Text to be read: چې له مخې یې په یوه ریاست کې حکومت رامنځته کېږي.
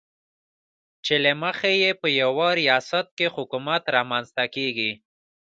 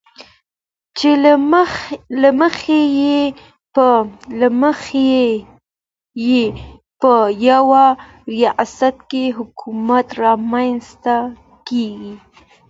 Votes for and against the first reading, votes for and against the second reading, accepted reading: 2, 1, 0, 2, first